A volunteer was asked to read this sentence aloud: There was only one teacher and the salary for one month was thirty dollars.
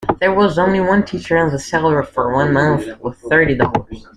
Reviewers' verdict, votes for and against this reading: accepted, 2, 1